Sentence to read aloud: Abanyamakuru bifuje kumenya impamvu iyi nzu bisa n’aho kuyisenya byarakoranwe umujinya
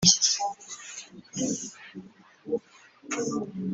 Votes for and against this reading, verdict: 0, 3, rejected